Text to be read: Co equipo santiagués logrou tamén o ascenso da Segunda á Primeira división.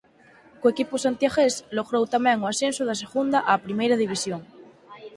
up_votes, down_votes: 4, 0